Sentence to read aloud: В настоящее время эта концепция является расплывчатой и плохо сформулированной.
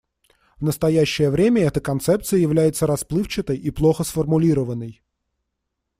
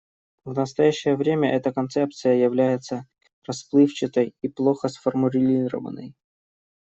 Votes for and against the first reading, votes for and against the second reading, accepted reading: 2, 0, 0, 2, first